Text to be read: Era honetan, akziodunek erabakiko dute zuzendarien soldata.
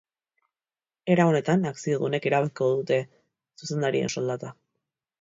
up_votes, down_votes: 2, 0